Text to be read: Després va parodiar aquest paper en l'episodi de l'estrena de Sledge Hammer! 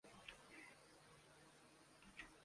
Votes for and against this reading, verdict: 0, 2, rejected